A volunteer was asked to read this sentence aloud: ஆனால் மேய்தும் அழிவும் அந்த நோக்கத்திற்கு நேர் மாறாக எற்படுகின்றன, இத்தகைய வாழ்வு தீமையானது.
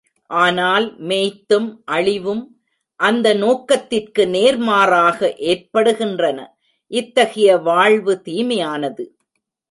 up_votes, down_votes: 1, 2